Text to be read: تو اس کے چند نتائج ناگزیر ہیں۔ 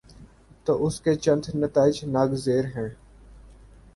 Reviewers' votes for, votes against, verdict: 2, 0, accepted